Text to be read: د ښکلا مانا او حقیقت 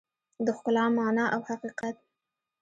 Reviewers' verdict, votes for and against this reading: accepted, 3, 0